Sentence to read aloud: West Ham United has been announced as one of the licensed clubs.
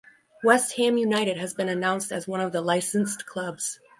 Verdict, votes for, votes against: rejected, 2, 2